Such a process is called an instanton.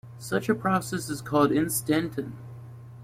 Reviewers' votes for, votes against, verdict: 2, 0, accepted